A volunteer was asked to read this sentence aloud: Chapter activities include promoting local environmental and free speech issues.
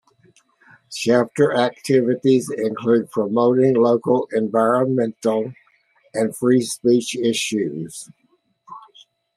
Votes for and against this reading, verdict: 2, 1, accepted